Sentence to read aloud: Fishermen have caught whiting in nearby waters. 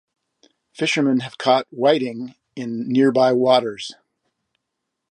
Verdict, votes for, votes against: accepted, 2, 0